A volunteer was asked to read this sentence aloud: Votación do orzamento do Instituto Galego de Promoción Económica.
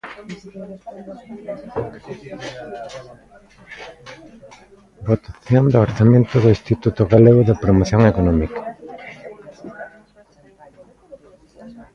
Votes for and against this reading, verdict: 0, 2, rejected